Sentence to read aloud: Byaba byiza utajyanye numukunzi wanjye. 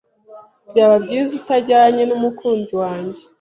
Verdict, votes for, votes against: accepted, 2, 0